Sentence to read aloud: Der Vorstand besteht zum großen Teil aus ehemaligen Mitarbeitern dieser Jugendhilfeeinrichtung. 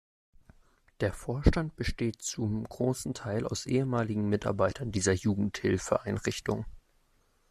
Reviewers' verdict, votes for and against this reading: accepted, 2, 0